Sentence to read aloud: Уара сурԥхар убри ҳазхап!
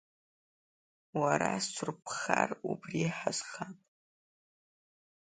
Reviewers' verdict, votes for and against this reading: rejected, 1, 2